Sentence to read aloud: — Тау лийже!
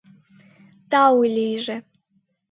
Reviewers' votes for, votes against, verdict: 2, 0, accepted